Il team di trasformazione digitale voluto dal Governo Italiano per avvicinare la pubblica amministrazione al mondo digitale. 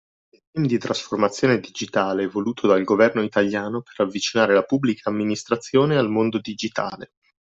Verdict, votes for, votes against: rejected, 0, 2